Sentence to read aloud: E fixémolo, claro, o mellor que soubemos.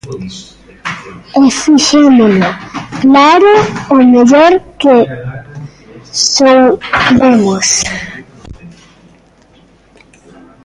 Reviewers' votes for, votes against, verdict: 0, 2, rejected